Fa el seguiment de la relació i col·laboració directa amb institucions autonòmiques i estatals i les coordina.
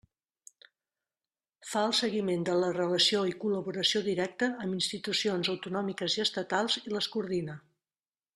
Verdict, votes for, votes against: accepted, 2, 0